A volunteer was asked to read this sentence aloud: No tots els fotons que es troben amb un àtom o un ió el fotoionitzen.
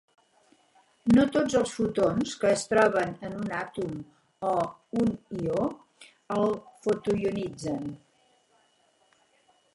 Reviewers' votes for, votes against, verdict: 2, 6, rejected